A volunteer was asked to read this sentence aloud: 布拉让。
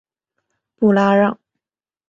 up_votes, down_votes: 2, 0